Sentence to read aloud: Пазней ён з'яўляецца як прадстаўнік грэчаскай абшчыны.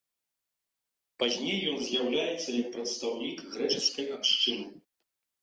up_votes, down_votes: 2, 0